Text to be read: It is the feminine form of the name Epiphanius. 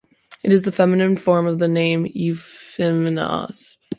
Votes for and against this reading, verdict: 1, 2, rejected